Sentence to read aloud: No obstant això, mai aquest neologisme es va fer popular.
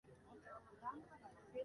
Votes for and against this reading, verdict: 1, 2, rejected